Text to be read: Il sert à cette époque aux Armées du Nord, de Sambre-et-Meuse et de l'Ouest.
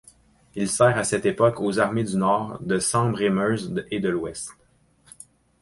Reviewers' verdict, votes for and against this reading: accepted, 4, 0